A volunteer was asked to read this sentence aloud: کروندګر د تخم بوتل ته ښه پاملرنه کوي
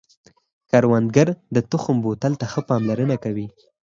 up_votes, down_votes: 4, 0